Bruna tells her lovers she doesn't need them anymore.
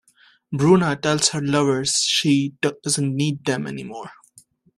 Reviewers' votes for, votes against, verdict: 2, 0, accepted